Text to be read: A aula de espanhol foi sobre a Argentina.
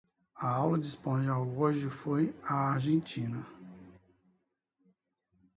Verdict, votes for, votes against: rejected, 0, 2